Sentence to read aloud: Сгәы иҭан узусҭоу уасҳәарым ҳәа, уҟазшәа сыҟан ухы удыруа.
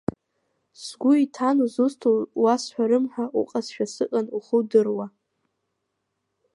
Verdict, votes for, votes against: rejected, 1, 2